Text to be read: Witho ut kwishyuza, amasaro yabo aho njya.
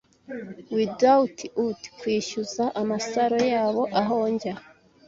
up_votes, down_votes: 1, 2